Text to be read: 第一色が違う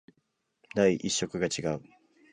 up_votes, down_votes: 2, 0